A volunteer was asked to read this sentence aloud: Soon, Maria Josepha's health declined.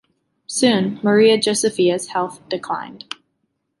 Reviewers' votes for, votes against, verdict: 2, 1, accepted